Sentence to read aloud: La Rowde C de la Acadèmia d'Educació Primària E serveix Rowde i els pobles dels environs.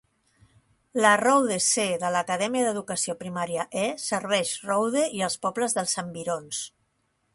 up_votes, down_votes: 2, 0